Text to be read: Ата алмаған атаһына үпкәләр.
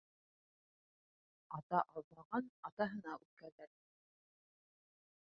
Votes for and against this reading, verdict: 0, 3, rejected